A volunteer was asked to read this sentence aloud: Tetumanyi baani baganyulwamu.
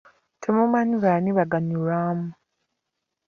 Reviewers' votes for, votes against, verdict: 1, 2, rejected